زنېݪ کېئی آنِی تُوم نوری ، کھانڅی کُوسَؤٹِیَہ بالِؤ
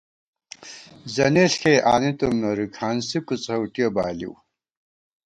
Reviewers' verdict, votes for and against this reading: accepted, 2, 0